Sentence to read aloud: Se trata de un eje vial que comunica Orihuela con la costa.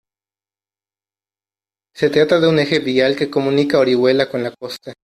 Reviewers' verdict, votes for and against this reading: accepted, 2, 0